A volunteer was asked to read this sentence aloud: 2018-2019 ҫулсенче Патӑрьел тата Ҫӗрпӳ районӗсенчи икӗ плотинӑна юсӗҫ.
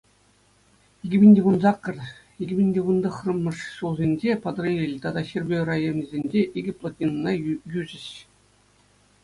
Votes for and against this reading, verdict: 0, 2, rejected